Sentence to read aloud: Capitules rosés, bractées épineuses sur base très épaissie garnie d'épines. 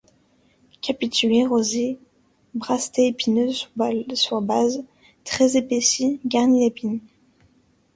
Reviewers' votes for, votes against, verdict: 1, 2, rejected